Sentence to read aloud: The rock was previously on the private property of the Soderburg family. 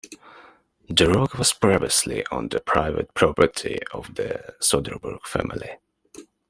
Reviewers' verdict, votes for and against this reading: accepted, 2, 1